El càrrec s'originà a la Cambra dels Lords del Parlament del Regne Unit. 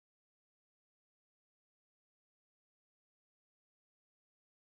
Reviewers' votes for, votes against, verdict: 0, 2, rejected